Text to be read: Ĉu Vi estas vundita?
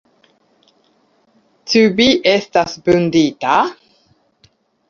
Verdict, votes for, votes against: accepted, 2, 0